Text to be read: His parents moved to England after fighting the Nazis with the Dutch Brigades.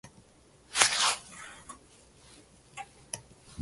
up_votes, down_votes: 0, 2